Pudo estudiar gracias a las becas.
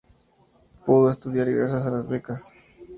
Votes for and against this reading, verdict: 2, 0, accepted